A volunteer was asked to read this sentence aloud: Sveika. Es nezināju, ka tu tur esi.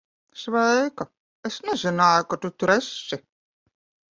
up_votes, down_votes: 2, 0